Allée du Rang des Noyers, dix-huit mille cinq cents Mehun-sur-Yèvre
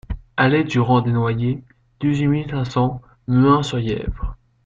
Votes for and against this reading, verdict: 1, 2, rejected